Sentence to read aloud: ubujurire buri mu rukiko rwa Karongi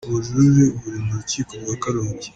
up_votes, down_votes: 2, 0